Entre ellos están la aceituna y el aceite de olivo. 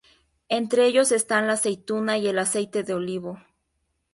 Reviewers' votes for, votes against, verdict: 2, 0, accepted